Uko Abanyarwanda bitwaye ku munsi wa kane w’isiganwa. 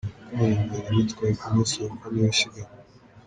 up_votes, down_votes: 2, 1